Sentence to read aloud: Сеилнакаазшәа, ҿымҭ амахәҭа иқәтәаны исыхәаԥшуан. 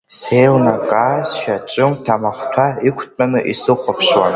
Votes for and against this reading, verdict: 1, 2, rejected